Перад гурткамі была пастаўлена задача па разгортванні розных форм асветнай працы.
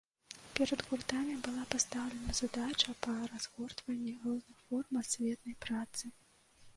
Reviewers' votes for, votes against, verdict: 1, 2, rejected